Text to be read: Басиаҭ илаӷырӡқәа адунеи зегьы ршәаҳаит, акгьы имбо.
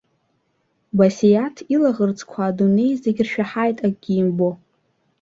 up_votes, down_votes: 2, 0